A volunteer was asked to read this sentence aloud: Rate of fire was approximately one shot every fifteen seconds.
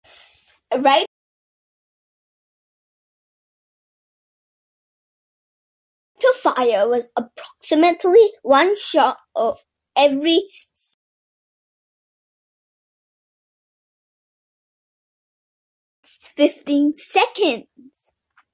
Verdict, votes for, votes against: rejected, 0, 2